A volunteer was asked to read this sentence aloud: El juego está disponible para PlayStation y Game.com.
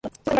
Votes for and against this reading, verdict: 0, 2, rejected